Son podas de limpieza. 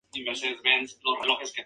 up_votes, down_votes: 0, 2